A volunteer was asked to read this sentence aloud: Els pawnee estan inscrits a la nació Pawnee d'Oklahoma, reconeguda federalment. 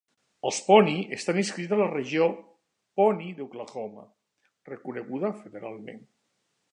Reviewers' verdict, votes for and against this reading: rejected, 1, 2